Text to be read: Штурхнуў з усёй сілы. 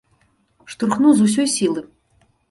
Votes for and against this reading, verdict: 2, 0, accepted